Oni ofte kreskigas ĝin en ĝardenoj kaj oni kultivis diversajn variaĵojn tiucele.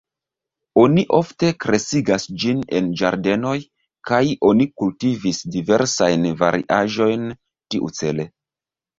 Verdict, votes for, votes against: accepted, 2, 1